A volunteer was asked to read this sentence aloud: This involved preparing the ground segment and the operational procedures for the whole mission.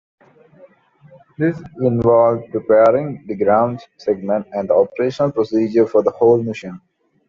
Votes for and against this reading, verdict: 2, 1, accepted